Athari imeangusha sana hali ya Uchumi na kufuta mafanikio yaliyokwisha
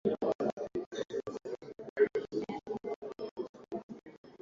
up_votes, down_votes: 0, 5